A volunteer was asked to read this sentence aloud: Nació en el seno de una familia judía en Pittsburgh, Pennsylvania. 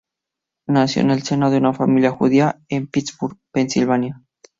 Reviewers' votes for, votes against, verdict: 0, 2, rejected